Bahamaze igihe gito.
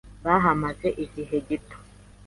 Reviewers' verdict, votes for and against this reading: accepted, 2, 0